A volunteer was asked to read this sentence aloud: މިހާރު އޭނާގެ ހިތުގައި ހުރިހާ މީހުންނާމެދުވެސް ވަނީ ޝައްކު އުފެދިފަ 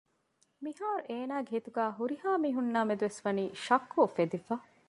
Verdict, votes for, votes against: accepted, 2, 0